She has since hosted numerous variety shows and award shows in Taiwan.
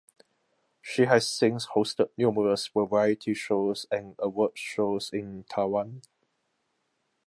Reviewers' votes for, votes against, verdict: 2, 0, accepted